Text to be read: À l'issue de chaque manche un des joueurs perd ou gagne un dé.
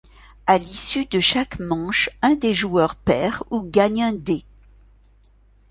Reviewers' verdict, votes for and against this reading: accepted, 2, 0